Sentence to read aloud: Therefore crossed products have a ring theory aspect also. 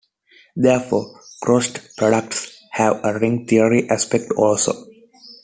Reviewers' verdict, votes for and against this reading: accepted, 2, 0